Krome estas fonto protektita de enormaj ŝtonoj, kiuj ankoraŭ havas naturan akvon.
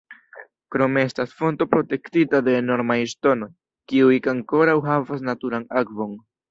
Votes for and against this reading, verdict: 1, 2, rejected